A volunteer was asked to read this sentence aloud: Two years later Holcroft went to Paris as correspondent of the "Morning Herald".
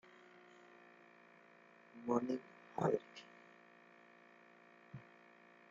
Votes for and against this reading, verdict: 0, 2, rejected